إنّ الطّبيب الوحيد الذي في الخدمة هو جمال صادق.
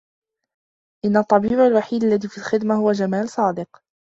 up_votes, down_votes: 1, 2